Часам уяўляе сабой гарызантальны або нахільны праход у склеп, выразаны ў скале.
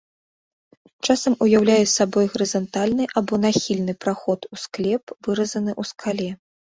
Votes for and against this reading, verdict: 2, 0, accepted